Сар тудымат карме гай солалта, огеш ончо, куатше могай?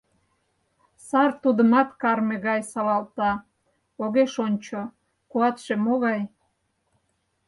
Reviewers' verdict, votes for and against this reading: accepted, 4, 0